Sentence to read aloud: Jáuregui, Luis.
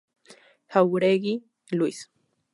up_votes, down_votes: 2, 0